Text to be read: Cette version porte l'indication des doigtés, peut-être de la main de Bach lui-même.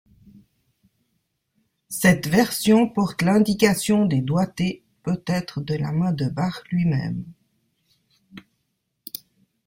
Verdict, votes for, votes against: rejected, 2, 3